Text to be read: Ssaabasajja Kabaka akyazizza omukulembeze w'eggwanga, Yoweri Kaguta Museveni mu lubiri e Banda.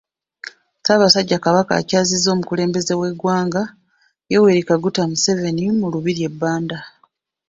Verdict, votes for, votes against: accepted, 2, 0